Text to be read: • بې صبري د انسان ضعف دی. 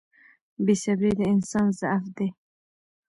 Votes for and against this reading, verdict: 1, 2, rejected